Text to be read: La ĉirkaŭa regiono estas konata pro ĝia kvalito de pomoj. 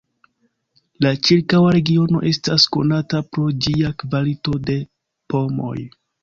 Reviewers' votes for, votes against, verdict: 2, 0, accepted